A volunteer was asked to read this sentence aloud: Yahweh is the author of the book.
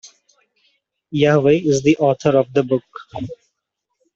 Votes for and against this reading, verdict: 2, 0, accepted